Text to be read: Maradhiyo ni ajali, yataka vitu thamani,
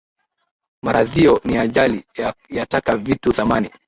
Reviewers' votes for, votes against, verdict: 0, 2, rejected